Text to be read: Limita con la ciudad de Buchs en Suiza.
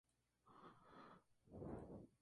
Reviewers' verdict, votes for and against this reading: rejected, 0, 2